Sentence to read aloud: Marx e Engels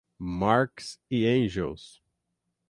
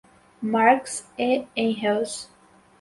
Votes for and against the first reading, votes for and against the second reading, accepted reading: 0, 3, 4, 2, second